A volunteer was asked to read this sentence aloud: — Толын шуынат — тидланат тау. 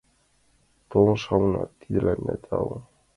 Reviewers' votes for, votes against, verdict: 0, 2, rejected